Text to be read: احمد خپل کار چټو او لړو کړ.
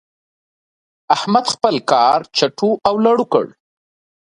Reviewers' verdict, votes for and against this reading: accepted, 2, 1